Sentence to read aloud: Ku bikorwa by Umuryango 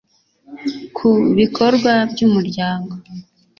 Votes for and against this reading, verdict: 2, 0, accepted